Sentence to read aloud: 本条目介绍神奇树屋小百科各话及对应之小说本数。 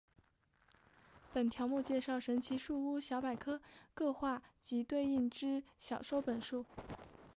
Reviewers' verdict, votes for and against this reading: accepted, 2, 0